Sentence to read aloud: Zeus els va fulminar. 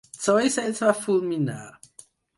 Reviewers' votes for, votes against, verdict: 0, 4, rejected